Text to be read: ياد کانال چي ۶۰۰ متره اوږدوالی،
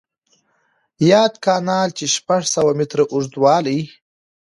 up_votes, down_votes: 0, 2